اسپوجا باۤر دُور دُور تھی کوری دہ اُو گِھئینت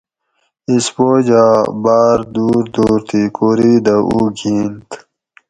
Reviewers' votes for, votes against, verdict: 4, 0, accepted